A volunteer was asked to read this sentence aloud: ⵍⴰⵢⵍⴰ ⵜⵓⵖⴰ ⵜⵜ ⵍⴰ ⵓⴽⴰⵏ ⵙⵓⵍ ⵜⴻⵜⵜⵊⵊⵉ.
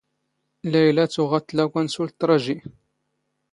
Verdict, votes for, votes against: rejected, 1, 2